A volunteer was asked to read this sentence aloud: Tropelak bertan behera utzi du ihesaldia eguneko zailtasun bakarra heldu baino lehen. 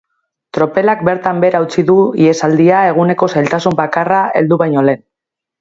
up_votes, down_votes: 3, 0